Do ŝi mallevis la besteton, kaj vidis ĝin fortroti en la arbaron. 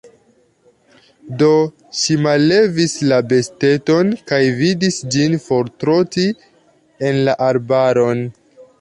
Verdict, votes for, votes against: accepted, 2, 0